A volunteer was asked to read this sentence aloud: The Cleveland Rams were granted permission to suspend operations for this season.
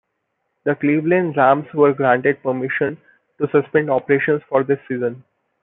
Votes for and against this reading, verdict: 2, 0, accepted